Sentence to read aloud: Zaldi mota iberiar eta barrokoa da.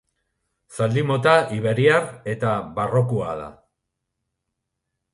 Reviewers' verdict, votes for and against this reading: rejected, 0, 2